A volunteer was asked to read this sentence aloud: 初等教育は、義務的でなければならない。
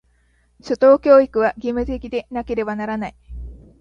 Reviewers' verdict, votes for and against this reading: accepted, 2, 0